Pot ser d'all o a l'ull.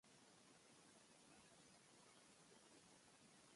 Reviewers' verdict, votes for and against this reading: rejected, 0, 2